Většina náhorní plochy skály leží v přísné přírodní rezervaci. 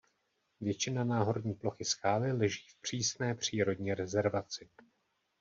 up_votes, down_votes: 1, 2